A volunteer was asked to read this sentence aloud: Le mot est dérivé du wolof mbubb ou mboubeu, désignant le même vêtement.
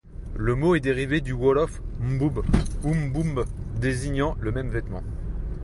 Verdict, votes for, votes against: rejected, 1, 2